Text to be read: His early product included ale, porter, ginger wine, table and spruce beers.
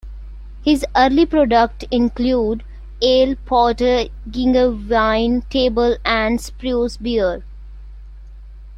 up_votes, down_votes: 2, 0